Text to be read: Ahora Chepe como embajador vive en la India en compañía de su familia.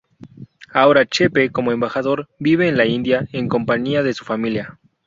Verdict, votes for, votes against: accepted, 2, 0